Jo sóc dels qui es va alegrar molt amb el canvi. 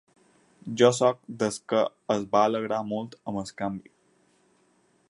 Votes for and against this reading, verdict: 4, 6, rejected